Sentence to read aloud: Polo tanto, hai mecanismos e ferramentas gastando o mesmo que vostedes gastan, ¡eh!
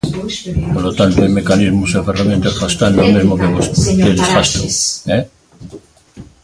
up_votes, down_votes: 1, 2